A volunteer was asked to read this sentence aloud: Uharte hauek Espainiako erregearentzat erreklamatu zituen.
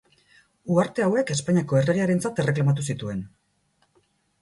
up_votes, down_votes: 10, 0